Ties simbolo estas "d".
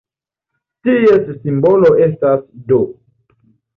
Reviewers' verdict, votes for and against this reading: accepted, 2, 0